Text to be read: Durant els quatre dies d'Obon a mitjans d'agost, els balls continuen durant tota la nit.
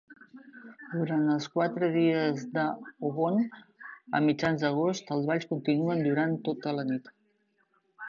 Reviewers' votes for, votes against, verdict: 0, 2, rejected